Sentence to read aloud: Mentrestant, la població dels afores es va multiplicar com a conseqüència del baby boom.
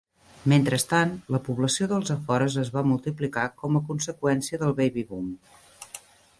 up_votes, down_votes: 2, 0